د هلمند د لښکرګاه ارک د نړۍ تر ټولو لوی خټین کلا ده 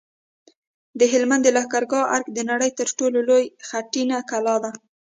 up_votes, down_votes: 2, 0